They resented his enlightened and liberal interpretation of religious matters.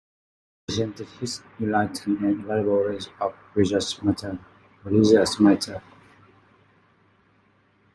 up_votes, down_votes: 0, 2